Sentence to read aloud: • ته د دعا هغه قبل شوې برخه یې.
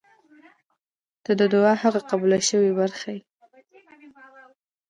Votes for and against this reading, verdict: 2, 1, accepted